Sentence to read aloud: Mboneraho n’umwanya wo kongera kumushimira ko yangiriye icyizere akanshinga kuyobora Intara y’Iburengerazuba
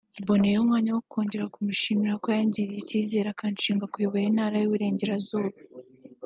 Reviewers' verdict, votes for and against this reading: accepted, 3, 0